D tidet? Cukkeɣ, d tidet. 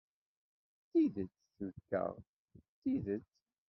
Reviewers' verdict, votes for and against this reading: rejected, 0, 2